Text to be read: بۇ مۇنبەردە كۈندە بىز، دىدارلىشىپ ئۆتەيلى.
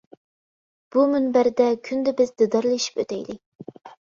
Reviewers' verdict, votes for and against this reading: accepted, 2, 0